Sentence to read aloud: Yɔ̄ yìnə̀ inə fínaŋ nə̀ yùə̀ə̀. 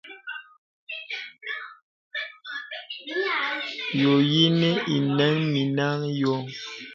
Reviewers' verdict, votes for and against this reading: rejected, 1, 2